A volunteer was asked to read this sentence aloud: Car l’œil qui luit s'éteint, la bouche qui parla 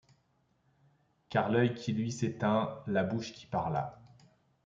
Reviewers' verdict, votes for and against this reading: accepted, 2, 0